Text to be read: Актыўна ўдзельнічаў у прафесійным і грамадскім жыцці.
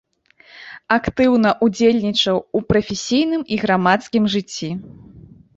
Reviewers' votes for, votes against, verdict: 1, 2, rejected